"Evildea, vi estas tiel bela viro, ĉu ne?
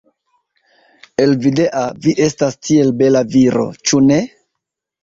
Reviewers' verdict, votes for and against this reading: rejected, 1, 2